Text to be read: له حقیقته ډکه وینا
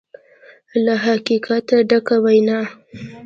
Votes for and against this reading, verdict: 2, 0, accepted